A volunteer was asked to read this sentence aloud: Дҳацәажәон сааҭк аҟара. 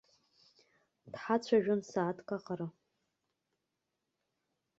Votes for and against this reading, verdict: 2, 0, accepted